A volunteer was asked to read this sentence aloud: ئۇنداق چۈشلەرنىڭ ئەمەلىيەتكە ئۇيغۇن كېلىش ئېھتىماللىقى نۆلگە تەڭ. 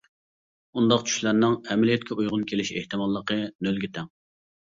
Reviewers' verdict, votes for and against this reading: accepted, 2, 0